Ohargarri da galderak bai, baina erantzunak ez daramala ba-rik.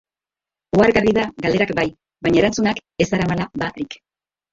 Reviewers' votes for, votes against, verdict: 0, 2, rejected